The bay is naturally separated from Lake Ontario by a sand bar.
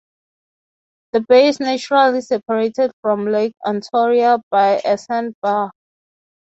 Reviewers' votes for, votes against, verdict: 3, 0, accepted